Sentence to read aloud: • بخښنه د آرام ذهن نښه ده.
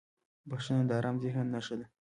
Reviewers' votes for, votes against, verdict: 2, 0, accepted